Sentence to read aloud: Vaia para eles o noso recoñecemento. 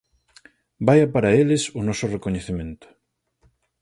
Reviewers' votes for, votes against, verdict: 4, 0, accepted